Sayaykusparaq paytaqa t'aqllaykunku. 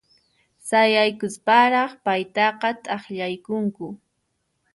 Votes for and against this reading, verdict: 2, 0, accepted